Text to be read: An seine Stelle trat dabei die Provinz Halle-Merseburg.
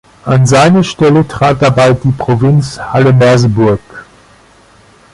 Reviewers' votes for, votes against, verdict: 2, 0, accepted